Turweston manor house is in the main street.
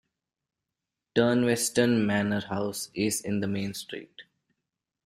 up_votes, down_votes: 1, 2